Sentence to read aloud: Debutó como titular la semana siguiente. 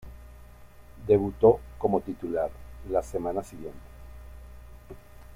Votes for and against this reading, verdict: 2, 0, accepted